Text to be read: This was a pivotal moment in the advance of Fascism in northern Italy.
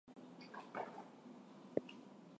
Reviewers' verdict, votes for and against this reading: rejected, 0, 4